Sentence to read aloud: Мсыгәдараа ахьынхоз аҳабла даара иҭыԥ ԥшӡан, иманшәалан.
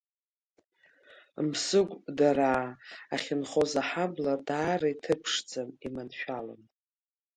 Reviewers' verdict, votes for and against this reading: accepted, 2, 0